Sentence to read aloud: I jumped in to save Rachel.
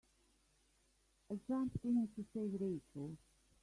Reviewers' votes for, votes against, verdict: 1, 2, rejected